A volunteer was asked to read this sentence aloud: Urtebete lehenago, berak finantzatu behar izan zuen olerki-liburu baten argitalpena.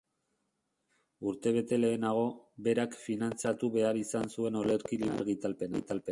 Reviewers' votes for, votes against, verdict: 0, 2, rejected